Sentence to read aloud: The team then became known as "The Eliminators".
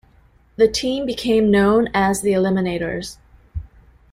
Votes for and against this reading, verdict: 0, 2, rejected